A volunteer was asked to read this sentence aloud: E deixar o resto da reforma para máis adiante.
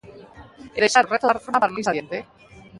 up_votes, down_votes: 0, 2